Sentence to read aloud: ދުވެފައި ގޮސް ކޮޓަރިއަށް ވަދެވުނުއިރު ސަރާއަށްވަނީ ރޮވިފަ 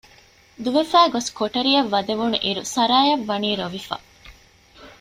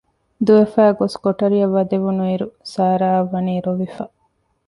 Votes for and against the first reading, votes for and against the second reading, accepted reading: 2, 1, 1, 2, first